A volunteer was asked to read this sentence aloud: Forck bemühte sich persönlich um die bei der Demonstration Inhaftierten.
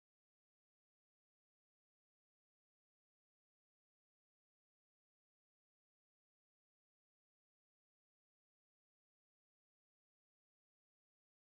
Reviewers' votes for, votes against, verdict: 0, 2, rejected